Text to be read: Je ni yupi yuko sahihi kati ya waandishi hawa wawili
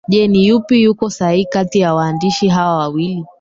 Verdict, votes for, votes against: accepted, 2, 1